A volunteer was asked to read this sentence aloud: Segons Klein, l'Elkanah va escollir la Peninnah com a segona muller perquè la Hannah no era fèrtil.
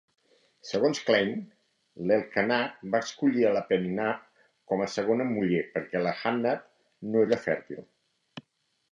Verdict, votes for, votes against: accepted, 2, 0